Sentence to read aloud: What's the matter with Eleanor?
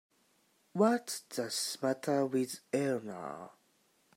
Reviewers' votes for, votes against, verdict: 0, 2, rejected